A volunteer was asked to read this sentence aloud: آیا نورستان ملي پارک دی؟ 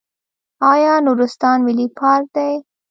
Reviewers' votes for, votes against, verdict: 1, 2, rejected